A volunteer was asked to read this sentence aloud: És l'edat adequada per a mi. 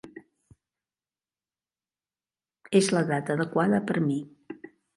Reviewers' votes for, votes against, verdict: 0, 2, rejected